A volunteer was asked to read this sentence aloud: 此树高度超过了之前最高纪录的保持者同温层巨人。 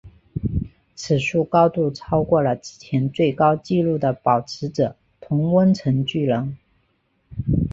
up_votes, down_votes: 4, 0